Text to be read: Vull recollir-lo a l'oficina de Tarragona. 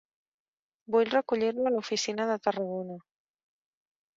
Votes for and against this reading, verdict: 1, 2, rejected